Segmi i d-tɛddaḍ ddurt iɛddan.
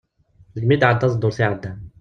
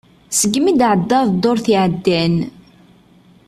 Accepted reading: second